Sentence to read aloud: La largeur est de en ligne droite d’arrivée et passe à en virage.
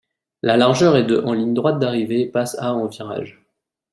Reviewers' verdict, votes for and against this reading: accepted, 2, 0